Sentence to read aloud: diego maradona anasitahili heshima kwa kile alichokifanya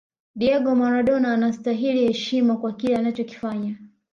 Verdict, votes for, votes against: accepted, 2, 0